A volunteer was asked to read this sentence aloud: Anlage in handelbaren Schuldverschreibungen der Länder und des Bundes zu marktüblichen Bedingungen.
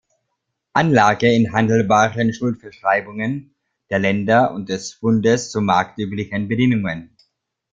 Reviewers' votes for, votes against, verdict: 1, 3, rejected